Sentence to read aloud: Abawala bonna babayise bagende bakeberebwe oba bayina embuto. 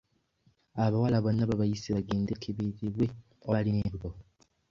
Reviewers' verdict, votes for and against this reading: rejected, 0, 2